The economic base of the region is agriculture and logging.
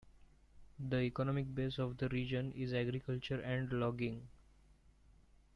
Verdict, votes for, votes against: accepted, 2, 0